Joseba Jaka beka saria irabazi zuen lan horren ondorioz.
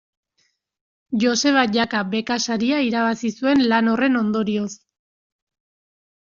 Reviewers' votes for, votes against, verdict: 2, 0, accepted